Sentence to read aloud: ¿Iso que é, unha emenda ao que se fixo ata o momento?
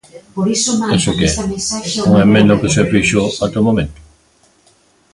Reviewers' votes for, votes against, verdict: 0, 2, rejected